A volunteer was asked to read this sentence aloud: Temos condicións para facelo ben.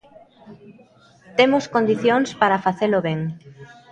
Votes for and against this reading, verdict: 0, 2, rejected